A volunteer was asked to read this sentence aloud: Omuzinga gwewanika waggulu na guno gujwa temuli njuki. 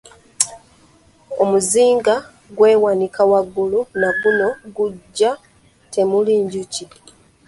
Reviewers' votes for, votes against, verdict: 1, 2, rejected